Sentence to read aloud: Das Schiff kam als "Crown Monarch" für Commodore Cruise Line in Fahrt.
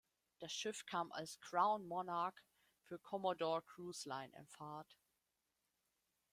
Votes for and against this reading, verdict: 2, 0, accepted